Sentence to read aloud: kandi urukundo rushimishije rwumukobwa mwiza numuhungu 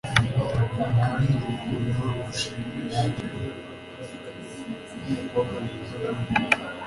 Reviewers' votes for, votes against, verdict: 1, 2, rejected